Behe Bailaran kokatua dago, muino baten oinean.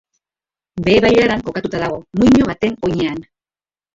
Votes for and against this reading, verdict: 1, 3, rejected